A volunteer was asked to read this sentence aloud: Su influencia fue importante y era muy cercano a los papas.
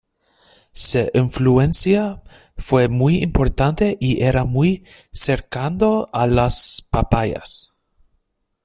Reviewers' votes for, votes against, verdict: 0, 2, rejected